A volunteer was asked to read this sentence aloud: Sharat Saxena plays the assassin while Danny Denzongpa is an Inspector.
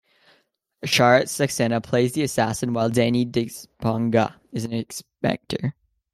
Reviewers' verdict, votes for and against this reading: rejected, 1, 2